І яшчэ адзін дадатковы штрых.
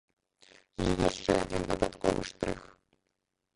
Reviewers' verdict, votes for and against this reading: rejected, 1, 2